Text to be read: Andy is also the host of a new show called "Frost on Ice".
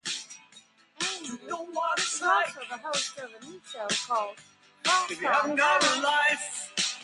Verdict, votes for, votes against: rejected, 0, 2